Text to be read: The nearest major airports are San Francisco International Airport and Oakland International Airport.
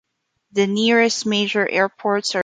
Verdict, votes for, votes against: rejected, 0, 2